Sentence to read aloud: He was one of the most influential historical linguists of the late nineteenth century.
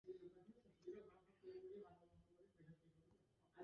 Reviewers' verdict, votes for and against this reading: rejected, 0, 2